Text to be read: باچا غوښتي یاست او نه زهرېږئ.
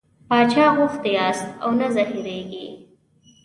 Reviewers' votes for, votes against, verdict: 2, 0, accepted